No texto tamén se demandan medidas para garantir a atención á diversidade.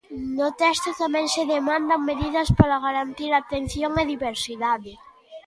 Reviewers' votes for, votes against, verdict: 2, 1, accepted